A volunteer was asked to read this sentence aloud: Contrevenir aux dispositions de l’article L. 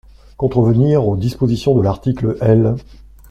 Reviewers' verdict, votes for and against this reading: accepted, 2, 0